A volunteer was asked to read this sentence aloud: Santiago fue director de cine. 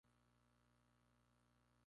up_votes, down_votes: 0, 2